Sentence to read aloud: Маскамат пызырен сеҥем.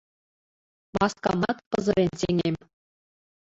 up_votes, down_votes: 1, 2